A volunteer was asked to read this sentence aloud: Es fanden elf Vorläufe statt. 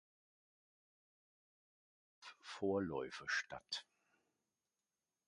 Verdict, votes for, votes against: rejected, 0, 2